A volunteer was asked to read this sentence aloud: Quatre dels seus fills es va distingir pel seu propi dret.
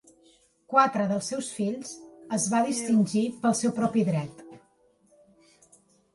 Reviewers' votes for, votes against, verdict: 3, 0, accepted